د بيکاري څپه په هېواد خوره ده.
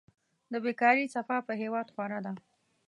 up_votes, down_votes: 2, 1